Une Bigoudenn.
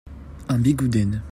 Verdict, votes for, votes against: rejected, 1, 2